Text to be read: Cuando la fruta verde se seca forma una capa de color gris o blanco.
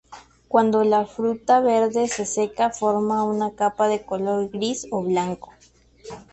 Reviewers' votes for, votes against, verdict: 2, 0, accepted